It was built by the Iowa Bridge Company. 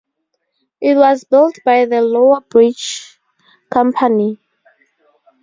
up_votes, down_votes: 0, 2